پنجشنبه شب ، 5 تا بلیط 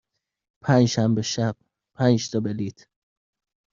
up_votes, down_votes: 0, 2